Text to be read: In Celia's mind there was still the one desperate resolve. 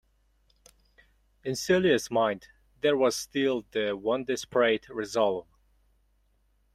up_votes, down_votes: 2, 1